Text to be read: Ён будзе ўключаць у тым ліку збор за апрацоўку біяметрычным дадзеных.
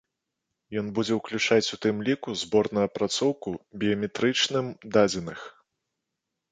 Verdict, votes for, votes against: rejected, 0, 2